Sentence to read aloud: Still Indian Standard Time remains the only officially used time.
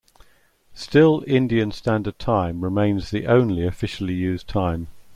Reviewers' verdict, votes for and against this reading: accepted, 2, 0